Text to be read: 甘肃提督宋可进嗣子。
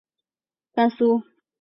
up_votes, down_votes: 0, 3